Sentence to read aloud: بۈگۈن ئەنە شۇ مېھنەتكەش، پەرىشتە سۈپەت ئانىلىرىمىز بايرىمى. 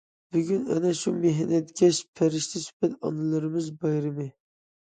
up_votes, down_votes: 2, 0